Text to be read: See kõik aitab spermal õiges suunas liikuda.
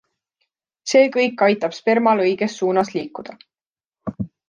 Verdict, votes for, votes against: accepted, 2, 0